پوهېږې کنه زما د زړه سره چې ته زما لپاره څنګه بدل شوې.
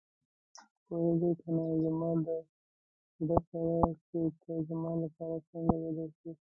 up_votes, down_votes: 2, 1